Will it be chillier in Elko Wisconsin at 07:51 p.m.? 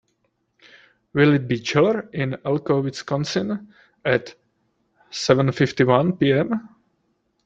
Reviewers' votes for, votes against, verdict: 0, 2, rejected